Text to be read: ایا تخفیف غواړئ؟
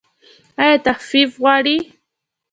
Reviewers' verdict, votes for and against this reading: accepted, 2, 0